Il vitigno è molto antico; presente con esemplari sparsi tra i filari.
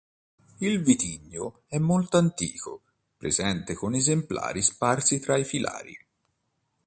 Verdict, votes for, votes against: accepted, 2, 0